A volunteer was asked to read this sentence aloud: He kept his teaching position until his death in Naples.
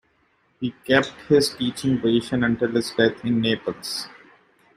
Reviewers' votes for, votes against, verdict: 1, 2, rejected